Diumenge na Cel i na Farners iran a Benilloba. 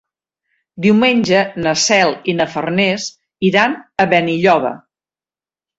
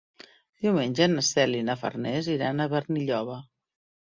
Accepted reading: first